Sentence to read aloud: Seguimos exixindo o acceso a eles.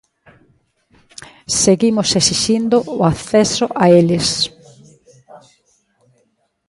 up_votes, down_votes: 0, 2